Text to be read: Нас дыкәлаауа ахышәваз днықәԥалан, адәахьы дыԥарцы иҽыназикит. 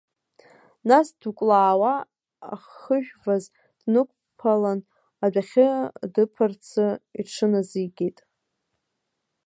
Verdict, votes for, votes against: rejected, 0, 2